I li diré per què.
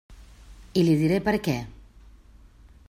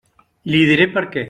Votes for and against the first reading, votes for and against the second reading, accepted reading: 3, 0, 0, 2, first